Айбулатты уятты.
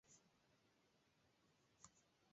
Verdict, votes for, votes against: rejected, 0, 2